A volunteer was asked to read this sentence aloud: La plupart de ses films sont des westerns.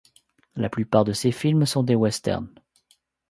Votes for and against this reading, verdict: 2, 0, accepted